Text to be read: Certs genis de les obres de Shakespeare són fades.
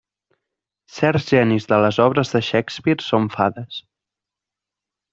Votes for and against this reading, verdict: 3, 0, accepted